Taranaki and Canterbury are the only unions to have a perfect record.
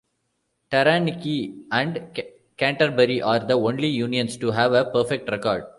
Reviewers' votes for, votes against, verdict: 2, 0, accepted